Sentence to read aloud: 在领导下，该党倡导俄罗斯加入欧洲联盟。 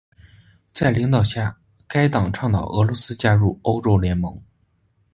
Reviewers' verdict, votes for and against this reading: accepted, 2, 0